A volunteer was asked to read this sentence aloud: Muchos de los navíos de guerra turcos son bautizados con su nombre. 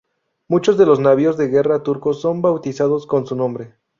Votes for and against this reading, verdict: 2, 0, accepted